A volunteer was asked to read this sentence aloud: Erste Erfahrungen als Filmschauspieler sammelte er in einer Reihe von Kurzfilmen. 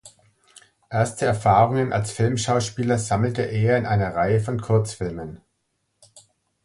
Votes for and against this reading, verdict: 2, 0, accepted